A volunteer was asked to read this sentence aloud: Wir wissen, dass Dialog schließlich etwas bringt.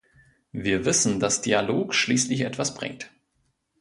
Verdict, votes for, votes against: accepted, 2, 0